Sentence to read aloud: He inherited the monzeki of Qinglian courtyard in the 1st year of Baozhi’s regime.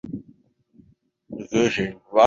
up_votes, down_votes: 0, 2